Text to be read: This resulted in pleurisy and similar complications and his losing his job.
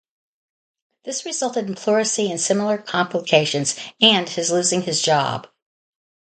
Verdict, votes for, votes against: rejected, 0, 2